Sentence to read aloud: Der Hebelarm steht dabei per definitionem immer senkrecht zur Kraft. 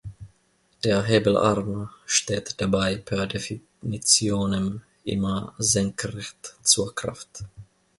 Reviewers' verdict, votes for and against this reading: accepted, 2, 0